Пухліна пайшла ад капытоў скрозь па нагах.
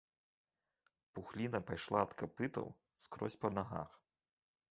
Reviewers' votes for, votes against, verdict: 2, 1, accepted